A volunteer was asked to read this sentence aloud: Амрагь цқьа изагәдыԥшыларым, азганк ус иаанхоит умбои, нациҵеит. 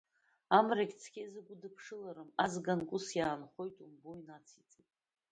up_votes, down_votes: 2, 1